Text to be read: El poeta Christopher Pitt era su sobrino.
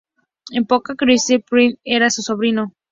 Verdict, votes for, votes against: rejected, 2, 2